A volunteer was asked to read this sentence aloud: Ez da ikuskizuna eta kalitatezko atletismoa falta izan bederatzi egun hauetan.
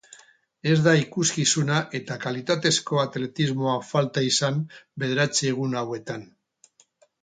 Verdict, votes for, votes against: accepted, 2, 0